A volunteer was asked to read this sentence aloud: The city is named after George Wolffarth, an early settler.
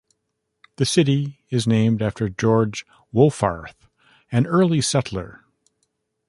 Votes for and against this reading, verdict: 2, 0, accepted